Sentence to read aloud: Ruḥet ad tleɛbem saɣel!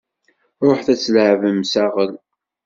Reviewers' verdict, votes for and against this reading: accepted, 2, 0